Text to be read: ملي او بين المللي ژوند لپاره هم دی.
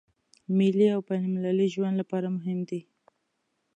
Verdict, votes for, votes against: accepted, 2, 1